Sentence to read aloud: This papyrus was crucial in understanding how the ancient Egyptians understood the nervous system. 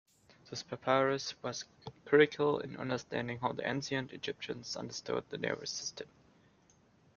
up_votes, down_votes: 2, 1